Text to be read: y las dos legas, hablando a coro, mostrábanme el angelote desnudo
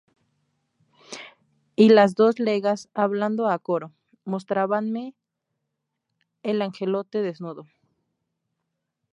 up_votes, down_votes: 0, 2